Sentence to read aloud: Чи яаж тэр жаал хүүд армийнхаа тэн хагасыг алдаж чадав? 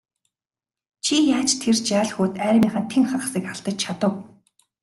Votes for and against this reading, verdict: 2, 1, accepted